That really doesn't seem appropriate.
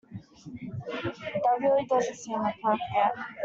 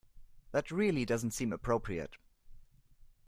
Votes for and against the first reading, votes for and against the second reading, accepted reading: 0, 2, 2, 0, second